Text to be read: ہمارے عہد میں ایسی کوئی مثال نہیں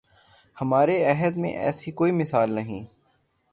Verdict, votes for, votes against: accepted, 3, 0